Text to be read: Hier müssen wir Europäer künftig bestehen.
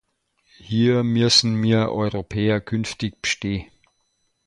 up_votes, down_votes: 0, 2